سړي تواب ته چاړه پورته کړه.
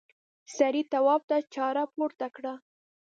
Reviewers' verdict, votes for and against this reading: accepted, 2, 0